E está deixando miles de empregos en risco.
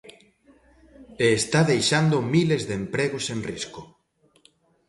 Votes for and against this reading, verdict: 2, 0, accepted